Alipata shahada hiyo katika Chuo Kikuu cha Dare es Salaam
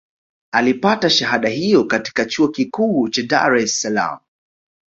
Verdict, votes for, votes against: accepted, 2, 0